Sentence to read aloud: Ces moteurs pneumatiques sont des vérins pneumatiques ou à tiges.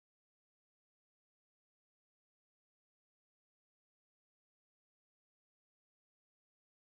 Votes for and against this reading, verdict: 0, 2, rejected